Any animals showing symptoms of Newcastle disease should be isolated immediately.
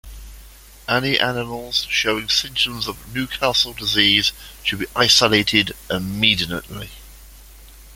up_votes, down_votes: 1, 2